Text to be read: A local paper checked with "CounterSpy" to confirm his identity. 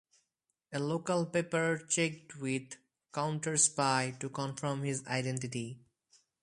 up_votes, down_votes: 4, 0